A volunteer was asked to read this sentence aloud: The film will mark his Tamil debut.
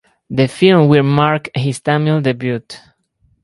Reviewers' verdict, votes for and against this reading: accepted, 4, 2